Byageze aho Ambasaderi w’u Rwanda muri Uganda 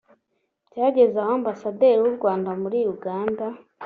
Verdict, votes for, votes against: accepted, 3, 0